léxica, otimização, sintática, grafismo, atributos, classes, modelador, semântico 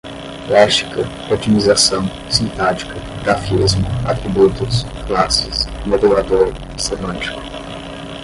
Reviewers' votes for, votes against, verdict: 5, 15, rejected